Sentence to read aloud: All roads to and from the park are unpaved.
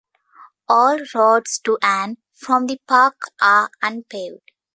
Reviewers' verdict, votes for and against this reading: accepted, 2, 0